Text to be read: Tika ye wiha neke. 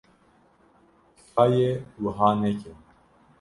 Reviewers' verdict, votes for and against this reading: rejected, 1, 2